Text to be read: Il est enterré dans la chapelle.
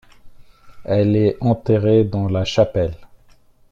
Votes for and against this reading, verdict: 0, 2, rejected